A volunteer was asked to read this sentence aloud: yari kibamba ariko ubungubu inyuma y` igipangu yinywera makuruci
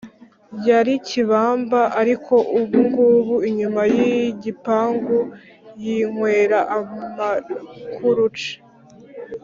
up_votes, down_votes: 0, 2